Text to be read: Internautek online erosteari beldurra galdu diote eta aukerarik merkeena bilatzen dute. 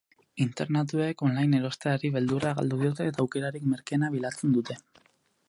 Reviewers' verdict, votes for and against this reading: rejected, 0, 4